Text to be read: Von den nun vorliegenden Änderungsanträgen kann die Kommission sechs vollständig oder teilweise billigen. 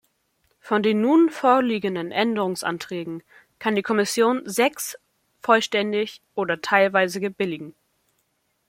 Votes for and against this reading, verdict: 1, 2, rejected